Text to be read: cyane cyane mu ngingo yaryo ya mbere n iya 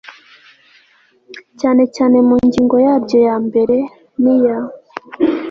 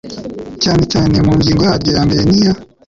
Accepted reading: first